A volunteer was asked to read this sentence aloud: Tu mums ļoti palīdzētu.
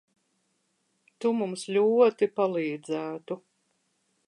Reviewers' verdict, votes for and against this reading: accepted, 2, 1